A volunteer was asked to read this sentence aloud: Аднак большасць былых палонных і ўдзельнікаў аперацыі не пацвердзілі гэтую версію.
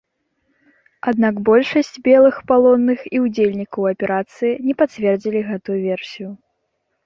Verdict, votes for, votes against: rejected, 1, 2